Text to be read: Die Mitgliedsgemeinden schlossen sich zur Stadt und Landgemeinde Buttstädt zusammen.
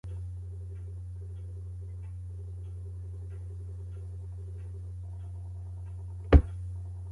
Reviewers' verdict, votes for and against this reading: rejected, 0, 2